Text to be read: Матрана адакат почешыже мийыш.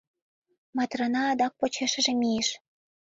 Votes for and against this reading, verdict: 1, 2, rejected